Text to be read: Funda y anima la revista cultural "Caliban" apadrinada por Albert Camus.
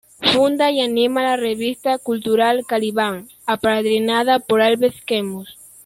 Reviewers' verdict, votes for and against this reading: rejected, 0, 2